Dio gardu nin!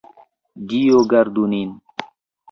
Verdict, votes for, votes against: rejected, 1, 2